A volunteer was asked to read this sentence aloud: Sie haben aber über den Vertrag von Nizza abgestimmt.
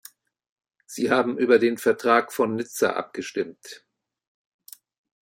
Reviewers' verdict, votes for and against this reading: rejected, 1, 2